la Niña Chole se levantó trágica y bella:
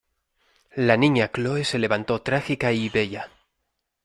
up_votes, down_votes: 0, 2